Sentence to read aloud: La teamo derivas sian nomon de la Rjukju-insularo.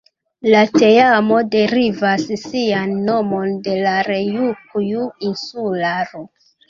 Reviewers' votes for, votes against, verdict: 1, 2, rejected